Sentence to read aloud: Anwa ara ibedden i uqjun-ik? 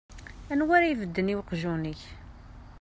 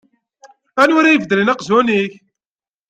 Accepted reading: first